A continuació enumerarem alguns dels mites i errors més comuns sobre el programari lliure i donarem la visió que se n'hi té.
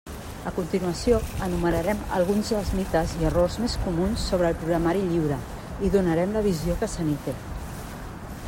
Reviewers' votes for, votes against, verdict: 2, 0, accepted